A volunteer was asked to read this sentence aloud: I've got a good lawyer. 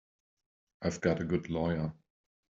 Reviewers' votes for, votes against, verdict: 3, 0, accepted